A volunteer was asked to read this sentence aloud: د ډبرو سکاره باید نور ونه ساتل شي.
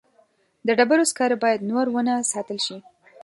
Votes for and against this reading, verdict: 2, 0, accepted